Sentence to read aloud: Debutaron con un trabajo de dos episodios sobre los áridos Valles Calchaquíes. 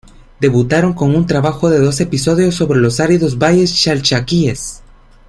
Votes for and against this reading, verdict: 1, 2, rejected